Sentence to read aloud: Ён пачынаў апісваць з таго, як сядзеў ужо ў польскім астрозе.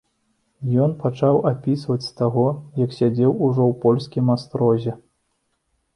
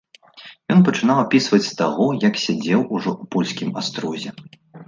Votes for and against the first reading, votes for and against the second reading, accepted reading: 0, 2, 2, 0, second